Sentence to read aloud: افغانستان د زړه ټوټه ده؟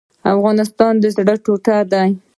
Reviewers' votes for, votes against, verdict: 1, 2, rejected